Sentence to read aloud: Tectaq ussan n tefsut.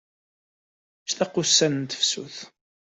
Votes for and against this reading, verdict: 2, 0, accepted